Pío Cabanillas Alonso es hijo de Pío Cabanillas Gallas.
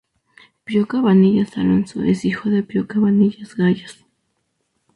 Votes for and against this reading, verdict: 2, 0, accepted